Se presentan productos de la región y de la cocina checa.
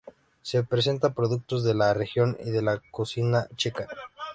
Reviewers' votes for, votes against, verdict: 2, 1, accepted